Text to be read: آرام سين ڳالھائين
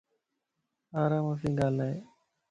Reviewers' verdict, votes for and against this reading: accepted, 2, 0